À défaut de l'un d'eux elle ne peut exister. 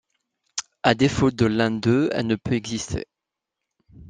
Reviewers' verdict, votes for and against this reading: accepted, 2, 0